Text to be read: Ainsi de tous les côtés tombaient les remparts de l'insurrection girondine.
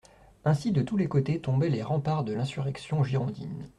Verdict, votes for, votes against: accepted, 2, 0